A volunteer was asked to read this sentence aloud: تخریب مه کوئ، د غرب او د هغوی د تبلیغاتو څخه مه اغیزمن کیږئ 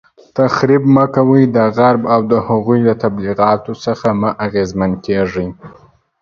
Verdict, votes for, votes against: accepted, 2, 0